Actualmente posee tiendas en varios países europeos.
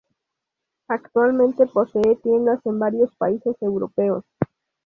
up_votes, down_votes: 2, 0